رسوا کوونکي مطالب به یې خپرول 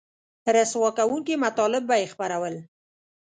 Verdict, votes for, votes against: accepted, 2, 0